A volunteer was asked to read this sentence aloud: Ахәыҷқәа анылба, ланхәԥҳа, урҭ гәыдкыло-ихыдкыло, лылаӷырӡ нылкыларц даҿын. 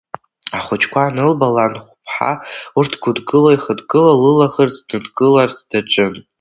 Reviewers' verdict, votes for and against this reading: rejected, 0, 3